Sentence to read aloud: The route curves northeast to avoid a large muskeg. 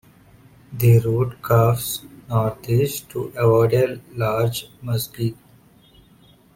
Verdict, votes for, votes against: rejected, 0, 2